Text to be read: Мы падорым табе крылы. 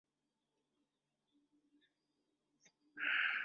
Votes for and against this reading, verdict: 0, 2, rejected